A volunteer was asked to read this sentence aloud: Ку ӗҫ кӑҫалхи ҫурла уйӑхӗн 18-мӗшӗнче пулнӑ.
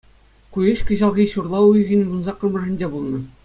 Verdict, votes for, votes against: rejected, 0, 2